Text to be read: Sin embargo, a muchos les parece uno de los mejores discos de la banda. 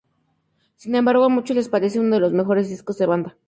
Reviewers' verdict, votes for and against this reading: rejected, 0, 4